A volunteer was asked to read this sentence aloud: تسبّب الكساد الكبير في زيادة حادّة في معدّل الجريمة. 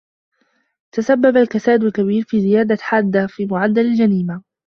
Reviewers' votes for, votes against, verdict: 2, 1, accepted